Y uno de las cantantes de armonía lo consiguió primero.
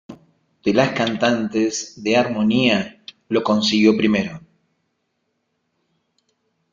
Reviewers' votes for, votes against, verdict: 0, 2, rejected